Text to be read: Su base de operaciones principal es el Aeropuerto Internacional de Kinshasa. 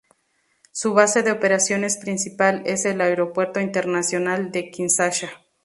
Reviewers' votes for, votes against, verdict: 0, 2, rejected